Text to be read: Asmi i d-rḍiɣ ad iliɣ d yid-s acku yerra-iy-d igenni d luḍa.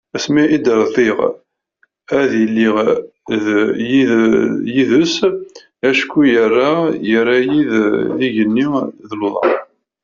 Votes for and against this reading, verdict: 0, 2, rejected